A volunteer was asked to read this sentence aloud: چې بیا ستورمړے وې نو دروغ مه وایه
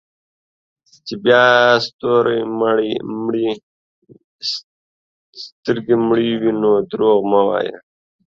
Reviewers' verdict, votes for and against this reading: rejected, 0, 2